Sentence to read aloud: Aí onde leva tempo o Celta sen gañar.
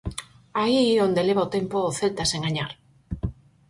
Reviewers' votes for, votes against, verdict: 2, 2, rejected